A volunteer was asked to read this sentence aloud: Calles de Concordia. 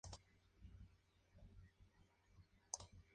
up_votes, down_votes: 0, 2